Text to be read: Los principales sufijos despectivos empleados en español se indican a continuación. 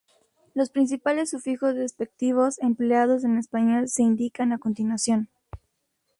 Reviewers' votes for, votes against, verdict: 2, 0, accepted